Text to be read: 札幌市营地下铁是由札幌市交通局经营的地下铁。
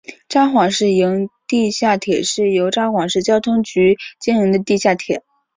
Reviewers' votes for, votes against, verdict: 2, 0, accepted